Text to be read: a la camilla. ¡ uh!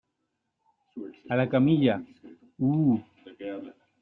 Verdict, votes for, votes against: accepted, 2, 0